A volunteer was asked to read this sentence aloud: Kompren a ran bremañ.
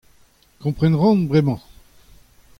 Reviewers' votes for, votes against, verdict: 2, 0, accepted